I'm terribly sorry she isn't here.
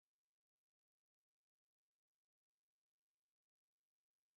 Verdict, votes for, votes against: rejected, 0, 3